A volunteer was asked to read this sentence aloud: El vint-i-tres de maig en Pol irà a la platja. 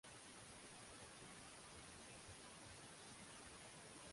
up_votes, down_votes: 0, 2